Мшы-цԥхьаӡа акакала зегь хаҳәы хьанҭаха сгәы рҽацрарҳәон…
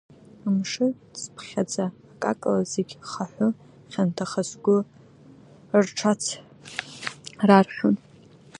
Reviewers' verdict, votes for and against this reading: rejected, 1, 2